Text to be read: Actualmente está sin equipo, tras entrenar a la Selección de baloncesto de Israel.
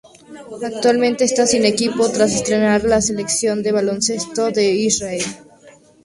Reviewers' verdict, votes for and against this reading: rejected, 2, 2